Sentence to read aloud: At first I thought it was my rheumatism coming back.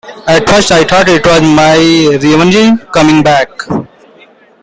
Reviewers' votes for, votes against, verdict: 2, 1, accepted